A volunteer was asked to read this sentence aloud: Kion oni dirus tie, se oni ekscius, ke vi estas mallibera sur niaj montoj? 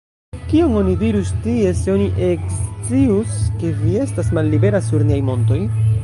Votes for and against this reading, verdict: 1, 2, rejected